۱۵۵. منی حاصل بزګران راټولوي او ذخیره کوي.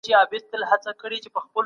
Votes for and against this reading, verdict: 0, 2, rejected